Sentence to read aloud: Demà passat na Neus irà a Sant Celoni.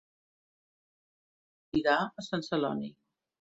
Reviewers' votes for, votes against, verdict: 1, 2, rejected